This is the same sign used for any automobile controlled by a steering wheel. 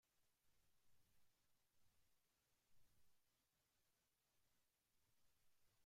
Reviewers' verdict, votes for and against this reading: rejected, 0, 2